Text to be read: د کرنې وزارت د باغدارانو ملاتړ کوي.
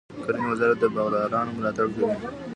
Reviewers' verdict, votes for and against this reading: accepted, 2, 1